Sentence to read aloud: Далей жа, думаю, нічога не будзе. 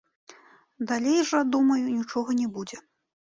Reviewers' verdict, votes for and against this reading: accepted, 2, 0